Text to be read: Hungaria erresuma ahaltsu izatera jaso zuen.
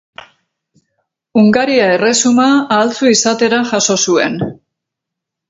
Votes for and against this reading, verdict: 4, 0, accepted